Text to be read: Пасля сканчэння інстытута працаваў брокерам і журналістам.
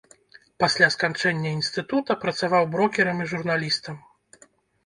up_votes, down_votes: 2, 0